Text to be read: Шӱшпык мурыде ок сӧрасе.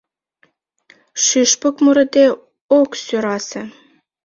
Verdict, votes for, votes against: accepted, 2, 0